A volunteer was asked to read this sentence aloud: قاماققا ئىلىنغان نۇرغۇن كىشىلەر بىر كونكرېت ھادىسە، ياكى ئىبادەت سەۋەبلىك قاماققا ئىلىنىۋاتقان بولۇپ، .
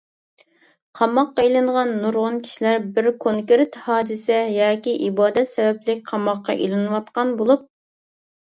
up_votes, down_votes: 0, 2